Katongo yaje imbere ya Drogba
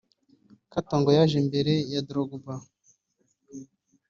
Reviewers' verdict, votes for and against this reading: rejected, 1, 2